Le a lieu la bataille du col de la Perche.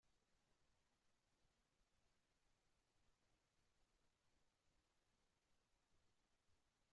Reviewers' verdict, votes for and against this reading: rejected, 0, 2